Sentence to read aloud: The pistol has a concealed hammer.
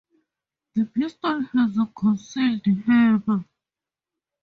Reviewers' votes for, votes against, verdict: 0, 2, rejected